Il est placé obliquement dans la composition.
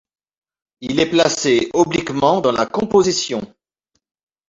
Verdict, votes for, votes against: accepted, 2, 0